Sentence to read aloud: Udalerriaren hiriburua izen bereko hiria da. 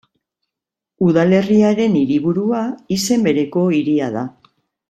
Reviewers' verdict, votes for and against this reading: accepted, 2, 0